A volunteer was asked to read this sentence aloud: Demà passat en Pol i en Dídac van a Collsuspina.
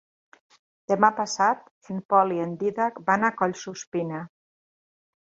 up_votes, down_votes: 3, 0